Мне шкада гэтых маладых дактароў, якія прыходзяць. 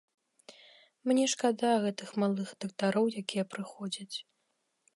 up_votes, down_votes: 0, 2